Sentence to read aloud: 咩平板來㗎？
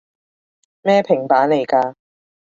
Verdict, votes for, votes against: accepted, 2, 1